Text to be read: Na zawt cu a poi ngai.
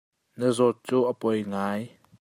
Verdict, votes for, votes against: accepted, 2, 0